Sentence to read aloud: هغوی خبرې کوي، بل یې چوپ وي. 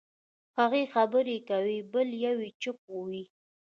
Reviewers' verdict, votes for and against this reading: rejected, 1, 2